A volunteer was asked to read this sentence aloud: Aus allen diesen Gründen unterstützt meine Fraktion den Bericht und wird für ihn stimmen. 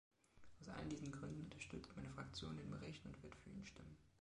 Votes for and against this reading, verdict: 2, 0, accepted